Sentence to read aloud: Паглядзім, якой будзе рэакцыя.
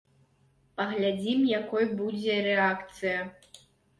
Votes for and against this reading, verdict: 3, 0, accepted